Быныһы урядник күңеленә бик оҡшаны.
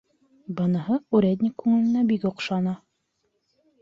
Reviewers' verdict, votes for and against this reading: accepted, 3, 0